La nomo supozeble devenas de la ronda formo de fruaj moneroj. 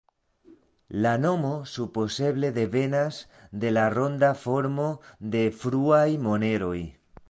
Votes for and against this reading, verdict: 2, 0, accepted